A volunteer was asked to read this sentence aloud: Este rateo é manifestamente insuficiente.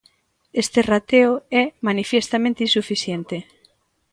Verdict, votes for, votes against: rejected, 0, 2